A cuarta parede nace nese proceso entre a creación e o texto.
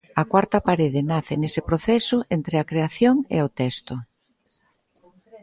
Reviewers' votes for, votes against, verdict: 2, 0, accepted